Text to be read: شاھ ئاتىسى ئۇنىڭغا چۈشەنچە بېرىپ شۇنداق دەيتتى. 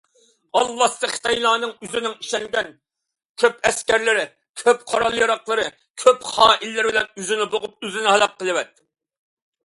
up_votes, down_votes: 0, 2